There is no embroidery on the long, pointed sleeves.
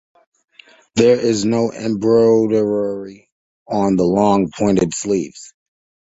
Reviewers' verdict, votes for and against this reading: accepted, 2, 0